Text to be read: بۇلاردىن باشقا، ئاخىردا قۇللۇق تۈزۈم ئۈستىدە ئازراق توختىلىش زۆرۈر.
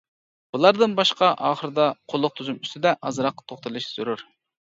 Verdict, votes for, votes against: accepted, 2, 0